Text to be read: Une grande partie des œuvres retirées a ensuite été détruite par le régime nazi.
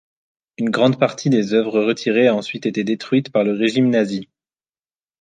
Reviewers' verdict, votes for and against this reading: accepted, 2, 0